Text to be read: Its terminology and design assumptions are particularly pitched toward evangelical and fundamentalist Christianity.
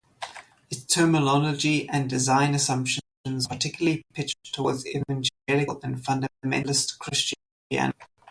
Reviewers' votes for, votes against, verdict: 0, 2, rejected